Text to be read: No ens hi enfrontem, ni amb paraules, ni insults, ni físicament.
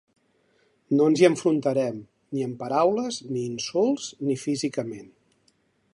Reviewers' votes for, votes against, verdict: 1, 2, rejected